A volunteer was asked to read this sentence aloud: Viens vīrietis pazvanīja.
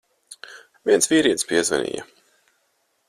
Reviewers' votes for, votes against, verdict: 2, 4, rejected